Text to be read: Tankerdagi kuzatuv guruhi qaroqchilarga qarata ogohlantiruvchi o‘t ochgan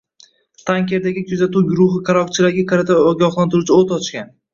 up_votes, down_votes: 1, 2